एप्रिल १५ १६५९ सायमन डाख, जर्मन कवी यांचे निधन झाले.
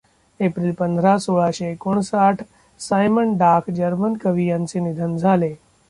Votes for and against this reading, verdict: 0, 2, rejected